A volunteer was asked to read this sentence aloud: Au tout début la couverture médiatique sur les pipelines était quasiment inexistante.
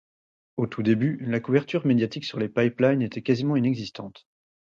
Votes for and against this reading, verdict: 4, 0, accepted